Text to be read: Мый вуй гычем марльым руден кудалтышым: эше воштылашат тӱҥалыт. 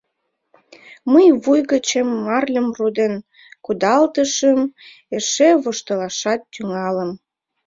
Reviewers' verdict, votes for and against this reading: rejected, 1, 2